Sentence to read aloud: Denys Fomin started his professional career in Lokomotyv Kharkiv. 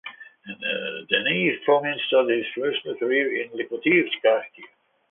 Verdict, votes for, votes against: rejected, 0, 3